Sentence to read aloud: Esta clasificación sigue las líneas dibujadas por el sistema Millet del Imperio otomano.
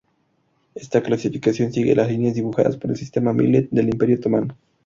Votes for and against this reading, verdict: 0, 2, rejected